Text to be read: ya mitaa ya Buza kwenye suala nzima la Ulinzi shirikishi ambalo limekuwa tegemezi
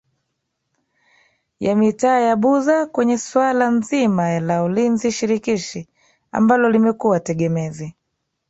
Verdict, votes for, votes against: accepted, 2, 1